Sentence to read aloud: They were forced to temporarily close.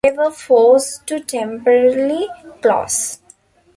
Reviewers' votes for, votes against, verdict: 0, 2, rejected